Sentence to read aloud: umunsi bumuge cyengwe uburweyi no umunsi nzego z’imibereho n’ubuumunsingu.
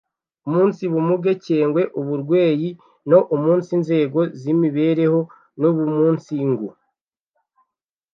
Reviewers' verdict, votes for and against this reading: rejected, 1, 2